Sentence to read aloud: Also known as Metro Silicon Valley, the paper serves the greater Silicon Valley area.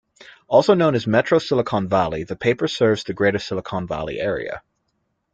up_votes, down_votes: 2, 0